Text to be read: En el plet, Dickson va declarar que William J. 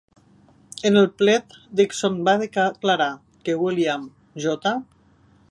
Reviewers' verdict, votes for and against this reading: rejected, 0, 2